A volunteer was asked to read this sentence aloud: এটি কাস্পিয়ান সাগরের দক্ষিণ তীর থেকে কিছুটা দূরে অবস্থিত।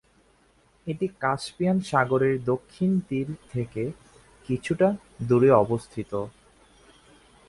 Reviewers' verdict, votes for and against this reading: accepted, 5, 1